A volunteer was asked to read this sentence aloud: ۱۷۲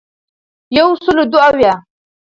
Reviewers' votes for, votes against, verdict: 0, 2, rejected